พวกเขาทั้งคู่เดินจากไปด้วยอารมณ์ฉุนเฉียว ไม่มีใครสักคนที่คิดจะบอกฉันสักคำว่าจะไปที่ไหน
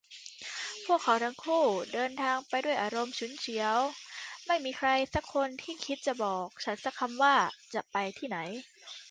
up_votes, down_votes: 0, 2